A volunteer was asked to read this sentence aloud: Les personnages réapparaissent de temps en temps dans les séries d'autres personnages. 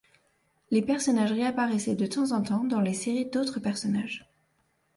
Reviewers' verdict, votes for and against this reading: rejected, 0, 2